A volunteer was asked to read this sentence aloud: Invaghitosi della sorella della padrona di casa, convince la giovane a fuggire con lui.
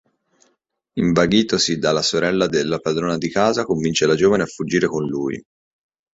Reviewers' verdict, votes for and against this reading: rejected, 1, 2